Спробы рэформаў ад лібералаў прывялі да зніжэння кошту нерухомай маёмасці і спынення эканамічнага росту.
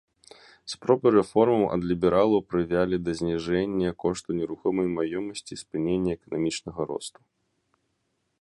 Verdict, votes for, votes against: rejected, 0, 2